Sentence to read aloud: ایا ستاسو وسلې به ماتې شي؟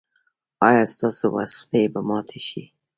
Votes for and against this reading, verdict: 1, 2, rejected